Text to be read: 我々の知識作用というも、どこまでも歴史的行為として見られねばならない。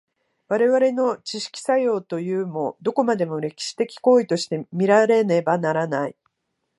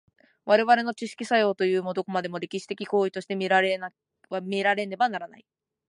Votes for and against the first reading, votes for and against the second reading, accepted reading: 2, 0, 1, 2, first